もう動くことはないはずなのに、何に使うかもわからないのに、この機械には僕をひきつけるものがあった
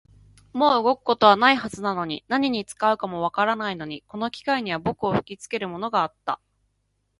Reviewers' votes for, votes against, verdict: 2, 0, accepted